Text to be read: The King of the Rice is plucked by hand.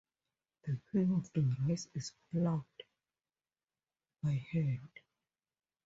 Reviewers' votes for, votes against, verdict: 0, 2, rejected